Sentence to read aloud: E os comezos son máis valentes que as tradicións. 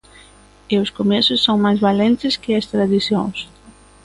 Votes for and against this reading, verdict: 2, 0, accepted